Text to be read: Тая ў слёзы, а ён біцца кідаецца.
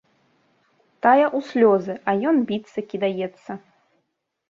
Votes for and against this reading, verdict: 1, 3, rejected